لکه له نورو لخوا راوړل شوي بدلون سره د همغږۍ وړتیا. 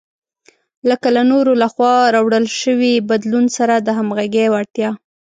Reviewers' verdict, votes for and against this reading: rejected, 0, 2